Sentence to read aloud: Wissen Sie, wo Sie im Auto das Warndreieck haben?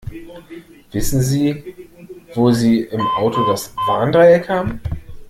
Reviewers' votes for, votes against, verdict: 2, 0, accepted